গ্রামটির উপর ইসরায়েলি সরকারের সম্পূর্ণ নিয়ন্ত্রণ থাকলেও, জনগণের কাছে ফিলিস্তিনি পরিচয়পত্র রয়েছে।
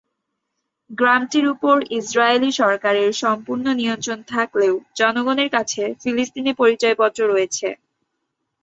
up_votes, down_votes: 3, 0